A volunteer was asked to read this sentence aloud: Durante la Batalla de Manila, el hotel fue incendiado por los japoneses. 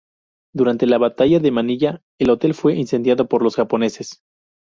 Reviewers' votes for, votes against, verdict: 0, 2, rejected